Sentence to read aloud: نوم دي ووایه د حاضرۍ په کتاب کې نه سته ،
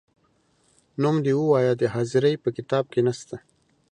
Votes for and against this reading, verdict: 2, 0, accepted